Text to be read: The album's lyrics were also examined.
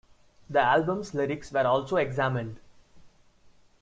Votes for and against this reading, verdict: 2, 0, accepted